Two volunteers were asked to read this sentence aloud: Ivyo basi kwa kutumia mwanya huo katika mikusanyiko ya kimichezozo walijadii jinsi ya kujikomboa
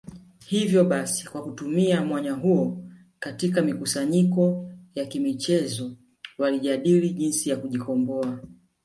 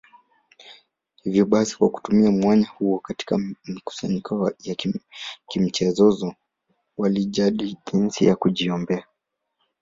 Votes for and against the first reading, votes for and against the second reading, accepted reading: 2, 1, 2, 3, first